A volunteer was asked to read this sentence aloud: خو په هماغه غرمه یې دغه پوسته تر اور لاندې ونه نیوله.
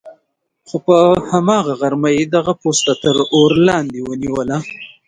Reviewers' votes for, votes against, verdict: 2, 1, accepted